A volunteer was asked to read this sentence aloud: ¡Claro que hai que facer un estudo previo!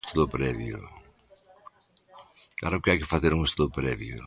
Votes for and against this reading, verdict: 0, 2, rejected